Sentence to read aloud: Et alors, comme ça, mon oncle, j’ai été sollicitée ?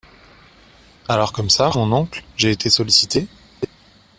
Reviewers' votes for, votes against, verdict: 0, 2, rejected